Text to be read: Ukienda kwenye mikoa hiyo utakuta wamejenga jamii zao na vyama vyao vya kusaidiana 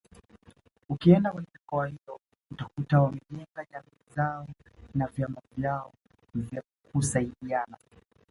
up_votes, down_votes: 1, 2